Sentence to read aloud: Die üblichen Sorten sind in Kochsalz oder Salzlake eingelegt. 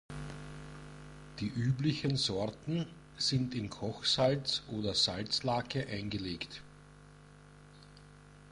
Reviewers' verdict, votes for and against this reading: accepted, 2, 0